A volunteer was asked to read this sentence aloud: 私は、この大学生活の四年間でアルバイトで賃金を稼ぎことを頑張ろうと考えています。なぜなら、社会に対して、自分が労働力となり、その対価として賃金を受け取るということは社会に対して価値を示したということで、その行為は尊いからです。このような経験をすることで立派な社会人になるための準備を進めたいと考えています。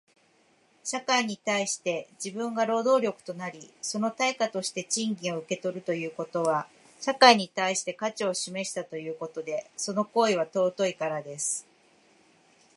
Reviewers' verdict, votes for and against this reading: accepted, 2, 0